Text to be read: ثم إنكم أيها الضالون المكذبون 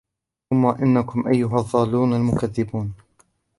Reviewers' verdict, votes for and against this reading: rejected, 1, 2